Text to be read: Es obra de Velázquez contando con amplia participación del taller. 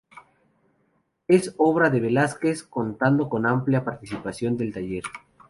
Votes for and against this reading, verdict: 0, 2, rejected